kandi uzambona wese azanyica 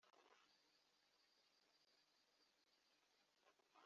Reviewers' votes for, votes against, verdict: 1, 2, rejected